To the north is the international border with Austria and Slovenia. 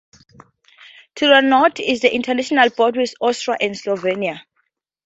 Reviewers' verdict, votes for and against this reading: rejected, 0, 2